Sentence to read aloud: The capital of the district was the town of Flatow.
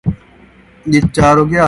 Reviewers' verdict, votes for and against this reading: rejected, 0, 2